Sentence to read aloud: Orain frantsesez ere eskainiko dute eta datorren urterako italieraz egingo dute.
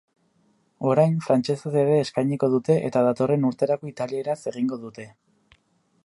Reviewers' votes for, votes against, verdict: 4, 0, accepted